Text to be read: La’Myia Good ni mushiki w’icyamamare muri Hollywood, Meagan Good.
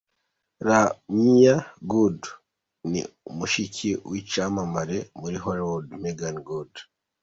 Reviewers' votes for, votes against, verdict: 2, 0, accepted